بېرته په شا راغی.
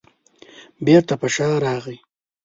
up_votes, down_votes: 2, 0